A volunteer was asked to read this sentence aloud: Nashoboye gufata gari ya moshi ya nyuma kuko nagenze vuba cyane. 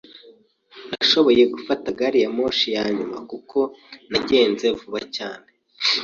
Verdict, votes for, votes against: accepted, 2, 0